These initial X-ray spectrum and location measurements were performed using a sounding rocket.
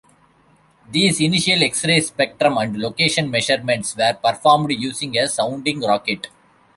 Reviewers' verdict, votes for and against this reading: accepted, 2, 0